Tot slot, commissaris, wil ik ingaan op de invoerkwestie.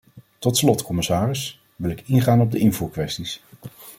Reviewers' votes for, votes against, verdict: 0, 2, rejected